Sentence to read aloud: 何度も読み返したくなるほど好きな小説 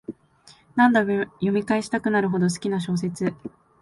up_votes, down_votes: 2, 0